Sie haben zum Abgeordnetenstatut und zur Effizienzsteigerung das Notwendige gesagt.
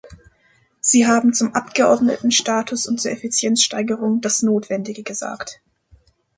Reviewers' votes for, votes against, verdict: 1, 2, rejected